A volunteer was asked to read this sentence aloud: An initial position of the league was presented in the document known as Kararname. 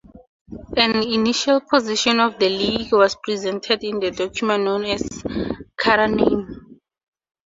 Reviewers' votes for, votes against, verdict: 2, 0, accepted